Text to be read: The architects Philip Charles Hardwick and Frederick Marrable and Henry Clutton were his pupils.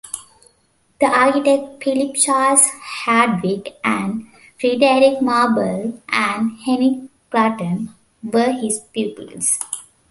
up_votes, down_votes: 0, 2